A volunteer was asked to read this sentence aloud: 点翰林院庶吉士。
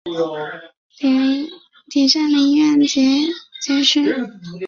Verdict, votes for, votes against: rejected, 0, 2